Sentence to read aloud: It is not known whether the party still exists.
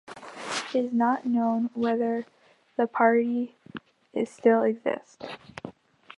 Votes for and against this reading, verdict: 1, 3, rejected